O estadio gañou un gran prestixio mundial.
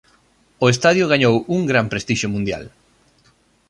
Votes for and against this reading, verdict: 2, 0, accepted